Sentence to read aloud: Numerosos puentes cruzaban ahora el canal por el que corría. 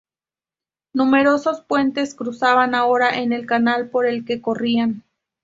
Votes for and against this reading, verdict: 2, 0, accepted